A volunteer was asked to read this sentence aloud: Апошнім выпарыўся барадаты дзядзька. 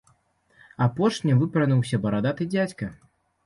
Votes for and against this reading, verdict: 3, 0, accepted